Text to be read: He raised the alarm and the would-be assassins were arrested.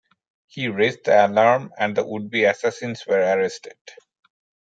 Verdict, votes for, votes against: accepted, 2, 0